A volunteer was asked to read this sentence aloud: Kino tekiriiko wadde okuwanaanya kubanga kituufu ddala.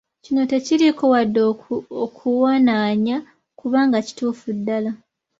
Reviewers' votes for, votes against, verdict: 0, 2, rejected